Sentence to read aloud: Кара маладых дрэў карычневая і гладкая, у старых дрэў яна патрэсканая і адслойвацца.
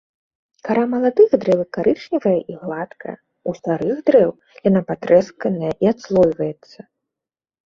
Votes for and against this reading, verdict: 2, 1, accepted